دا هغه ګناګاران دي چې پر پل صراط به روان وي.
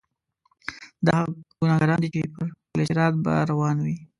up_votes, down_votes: 0, 2